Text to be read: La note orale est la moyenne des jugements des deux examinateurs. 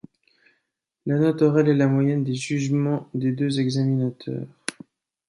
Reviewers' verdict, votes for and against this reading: accepted, 2, 0